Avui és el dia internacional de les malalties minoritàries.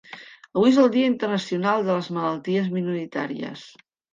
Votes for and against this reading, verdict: 3, 0, accepted